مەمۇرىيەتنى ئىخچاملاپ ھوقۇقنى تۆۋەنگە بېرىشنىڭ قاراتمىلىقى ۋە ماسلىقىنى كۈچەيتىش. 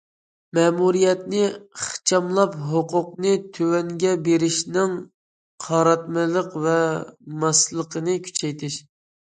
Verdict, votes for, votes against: rejected, 1, 2